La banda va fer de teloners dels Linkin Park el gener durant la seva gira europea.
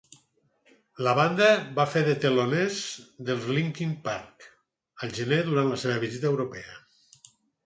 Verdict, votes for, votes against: rejected, 4, 6